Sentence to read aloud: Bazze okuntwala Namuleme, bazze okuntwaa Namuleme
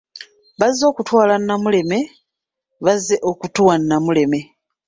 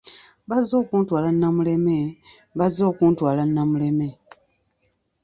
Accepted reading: second